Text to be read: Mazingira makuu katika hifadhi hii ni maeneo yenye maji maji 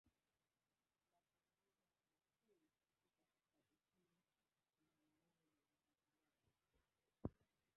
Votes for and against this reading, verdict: 0, 2, rejected